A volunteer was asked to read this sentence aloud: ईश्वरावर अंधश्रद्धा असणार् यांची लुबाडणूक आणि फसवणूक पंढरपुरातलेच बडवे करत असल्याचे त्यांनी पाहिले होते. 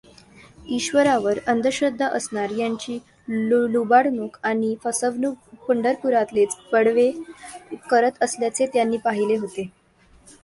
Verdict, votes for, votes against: rejected, 0, 2